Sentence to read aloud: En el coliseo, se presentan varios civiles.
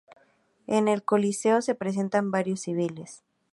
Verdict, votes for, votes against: accepted, 2, 0